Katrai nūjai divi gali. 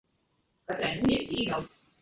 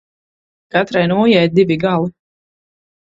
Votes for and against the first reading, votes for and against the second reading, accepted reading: 0, 2, 4, 0, second